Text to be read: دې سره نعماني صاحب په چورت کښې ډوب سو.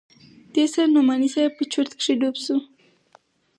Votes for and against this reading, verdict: 4, 0, accepted